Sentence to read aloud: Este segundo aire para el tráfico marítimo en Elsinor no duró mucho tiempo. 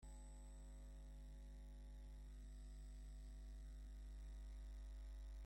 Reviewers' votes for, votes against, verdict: 0, 2, rejected